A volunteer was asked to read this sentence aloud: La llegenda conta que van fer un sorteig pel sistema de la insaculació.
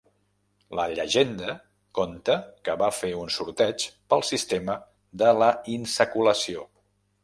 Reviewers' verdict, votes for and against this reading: rejected, 1, 2